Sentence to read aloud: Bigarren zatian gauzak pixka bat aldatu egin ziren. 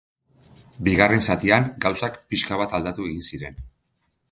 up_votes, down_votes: 3, 0